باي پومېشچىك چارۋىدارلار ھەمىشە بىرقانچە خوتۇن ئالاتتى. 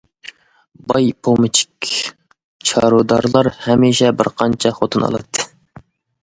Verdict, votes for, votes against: rejected, 0, 2